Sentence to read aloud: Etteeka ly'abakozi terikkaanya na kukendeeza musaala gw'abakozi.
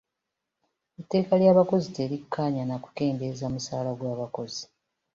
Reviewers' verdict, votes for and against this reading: accepted, 2, 0